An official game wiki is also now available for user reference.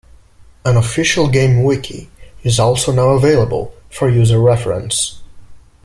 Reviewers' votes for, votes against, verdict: 2, 0, accepted